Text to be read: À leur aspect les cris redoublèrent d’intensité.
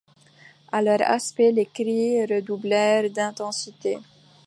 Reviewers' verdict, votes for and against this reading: accepted, 2, 0